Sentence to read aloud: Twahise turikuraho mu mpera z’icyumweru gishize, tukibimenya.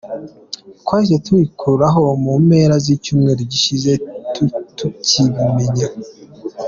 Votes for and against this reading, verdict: 1, 2, rejected